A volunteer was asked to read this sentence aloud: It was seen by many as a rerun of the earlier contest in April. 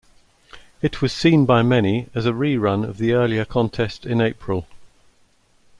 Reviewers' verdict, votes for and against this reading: accepted, 2, 0